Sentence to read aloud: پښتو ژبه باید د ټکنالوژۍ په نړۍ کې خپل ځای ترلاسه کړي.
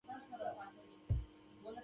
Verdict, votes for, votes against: rejected, 0, 2